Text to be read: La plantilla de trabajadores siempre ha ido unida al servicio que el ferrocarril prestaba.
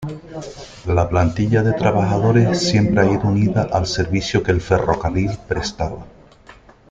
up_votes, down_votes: 2, 0